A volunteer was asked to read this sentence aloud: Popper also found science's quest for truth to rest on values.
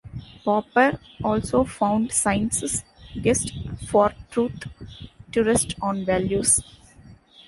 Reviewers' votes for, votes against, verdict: 1, 2, rejected